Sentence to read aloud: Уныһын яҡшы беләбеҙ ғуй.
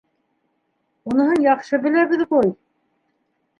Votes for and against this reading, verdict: 0, 2, rejected